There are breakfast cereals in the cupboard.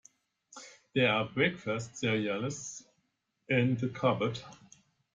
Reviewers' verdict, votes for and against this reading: accepted, 2, 0